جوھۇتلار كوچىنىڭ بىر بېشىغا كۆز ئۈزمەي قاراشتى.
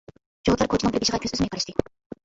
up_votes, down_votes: 0, 2